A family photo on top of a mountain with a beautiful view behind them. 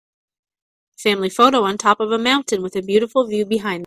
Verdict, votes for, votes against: rejected, 1, 2